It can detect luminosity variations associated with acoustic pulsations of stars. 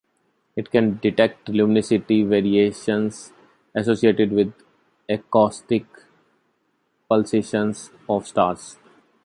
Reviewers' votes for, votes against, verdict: 2, 0, accepted